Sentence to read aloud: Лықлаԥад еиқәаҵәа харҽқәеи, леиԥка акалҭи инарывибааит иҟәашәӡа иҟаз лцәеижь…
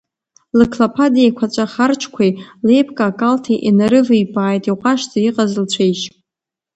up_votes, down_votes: 0, 2